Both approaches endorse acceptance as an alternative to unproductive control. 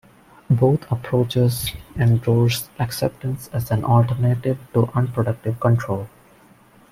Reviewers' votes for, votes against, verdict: 2, 0, accepted